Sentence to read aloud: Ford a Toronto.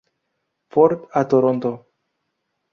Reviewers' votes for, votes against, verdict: 2, 0, accepted